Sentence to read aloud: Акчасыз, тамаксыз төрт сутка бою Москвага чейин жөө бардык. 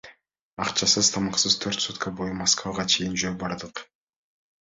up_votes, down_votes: 2, 0